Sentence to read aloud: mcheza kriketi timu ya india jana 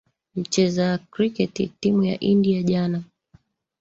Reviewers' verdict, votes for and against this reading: rejected, 0, 2